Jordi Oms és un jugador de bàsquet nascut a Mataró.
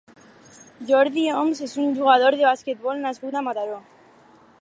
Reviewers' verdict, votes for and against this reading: rejected, 2, 6